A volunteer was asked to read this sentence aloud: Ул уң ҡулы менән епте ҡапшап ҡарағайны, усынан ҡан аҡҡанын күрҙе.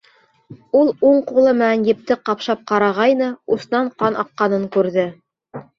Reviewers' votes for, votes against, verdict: 0, 2, rejected